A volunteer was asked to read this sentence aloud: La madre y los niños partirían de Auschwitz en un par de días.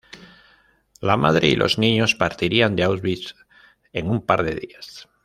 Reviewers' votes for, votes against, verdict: 2, 0, accepted